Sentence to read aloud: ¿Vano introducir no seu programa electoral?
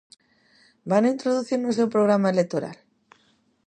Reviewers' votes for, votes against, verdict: 2, 0, accepted